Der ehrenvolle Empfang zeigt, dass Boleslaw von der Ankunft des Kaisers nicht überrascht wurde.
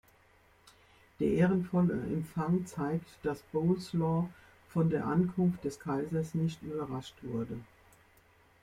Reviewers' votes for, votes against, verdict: 2, 0, accepted